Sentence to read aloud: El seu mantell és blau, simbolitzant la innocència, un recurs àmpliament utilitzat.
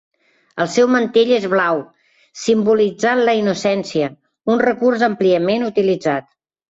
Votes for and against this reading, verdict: 2, 0, accepted